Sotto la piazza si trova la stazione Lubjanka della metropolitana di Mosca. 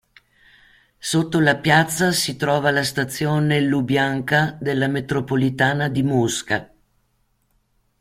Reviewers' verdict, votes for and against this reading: accepted, 2, 0